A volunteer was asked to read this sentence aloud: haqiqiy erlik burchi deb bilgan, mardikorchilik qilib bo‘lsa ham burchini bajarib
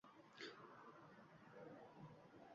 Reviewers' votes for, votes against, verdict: 1, 2, rejected